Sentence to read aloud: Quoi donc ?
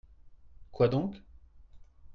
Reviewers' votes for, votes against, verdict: 2, 0, accepted